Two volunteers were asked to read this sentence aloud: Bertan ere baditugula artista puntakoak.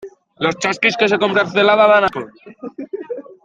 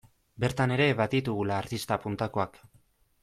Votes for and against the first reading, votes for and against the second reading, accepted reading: 0, 2, 2, 0, second